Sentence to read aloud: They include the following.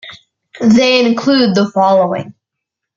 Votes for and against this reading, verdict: 2, 0, accepted